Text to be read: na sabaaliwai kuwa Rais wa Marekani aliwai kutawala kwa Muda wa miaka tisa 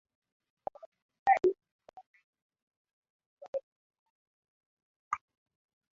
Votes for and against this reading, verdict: 0, 2, rejected